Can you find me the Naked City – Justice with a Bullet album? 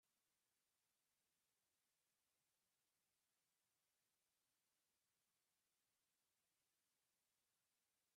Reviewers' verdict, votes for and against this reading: rejected, 0, 2